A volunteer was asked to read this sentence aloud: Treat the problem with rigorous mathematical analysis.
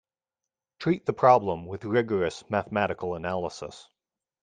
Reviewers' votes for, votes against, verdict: 2, 0, accepted